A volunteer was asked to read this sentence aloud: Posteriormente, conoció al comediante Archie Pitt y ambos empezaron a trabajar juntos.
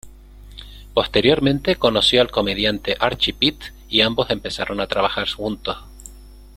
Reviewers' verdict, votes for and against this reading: accepted, 2, 1